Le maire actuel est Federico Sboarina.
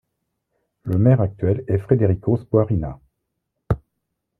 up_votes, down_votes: 0, 2